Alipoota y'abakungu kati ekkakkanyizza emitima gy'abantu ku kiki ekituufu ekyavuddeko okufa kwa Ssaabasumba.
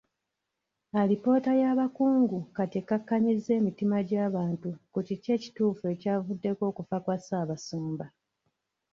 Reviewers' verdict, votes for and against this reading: accepted, 2, 1